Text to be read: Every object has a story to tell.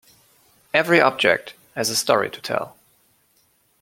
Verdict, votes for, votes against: accepted, 2, 0